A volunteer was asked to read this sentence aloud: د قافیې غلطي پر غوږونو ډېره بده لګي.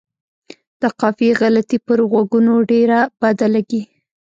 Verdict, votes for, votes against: rejected, 1, 2